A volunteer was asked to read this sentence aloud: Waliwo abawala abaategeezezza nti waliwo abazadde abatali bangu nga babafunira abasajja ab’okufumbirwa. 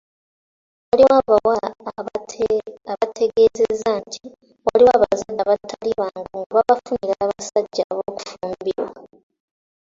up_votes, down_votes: 1, 2